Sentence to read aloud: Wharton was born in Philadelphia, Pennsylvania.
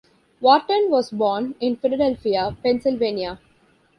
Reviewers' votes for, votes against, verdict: 2, 0, accepted